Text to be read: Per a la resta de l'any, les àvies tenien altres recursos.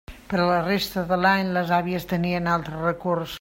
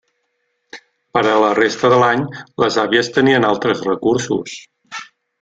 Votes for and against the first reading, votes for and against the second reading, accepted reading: 1, 2, 3, 0, second